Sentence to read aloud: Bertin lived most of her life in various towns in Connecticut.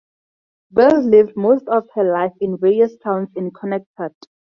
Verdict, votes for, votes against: accepted, 2, 0